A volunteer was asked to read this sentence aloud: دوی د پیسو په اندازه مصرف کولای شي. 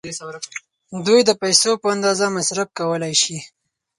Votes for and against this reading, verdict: 4, 0, accepted